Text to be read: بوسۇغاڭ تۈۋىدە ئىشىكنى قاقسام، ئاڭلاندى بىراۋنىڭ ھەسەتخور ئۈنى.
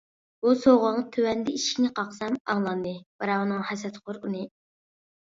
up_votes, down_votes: 0, 2